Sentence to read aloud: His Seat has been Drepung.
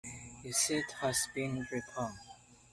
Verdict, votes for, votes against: accepted, 2, 1